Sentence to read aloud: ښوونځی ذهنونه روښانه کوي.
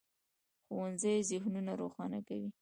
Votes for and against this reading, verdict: 0, 2, rejected